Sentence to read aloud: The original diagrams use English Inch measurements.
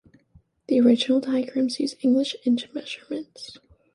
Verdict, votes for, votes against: accepted, 2, 0